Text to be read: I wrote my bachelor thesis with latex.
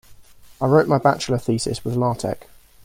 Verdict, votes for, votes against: rejected, 1, 2